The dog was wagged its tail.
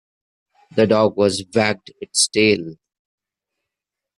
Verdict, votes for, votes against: rejected, 0, 2